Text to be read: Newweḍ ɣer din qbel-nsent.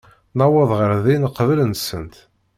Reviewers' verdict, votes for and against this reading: accepted, 2, 0